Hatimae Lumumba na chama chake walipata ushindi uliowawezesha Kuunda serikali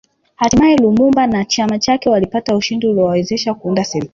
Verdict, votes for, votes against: rejected, 1, 3